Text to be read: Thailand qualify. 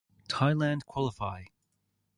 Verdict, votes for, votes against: accepted, 4, 0